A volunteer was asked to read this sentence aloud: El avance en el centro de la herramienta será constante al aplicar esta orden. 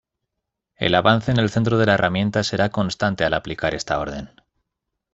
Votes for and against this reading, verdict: 2, 0, accepted